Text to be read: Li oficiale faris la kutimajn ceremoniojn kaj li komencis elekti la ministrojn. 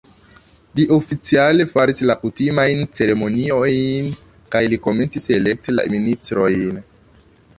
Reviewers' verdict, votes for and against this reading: rejected, 1, 2